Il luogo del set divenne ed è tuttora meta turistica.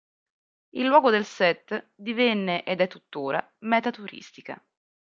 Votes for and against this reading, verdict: 2, 0, accepted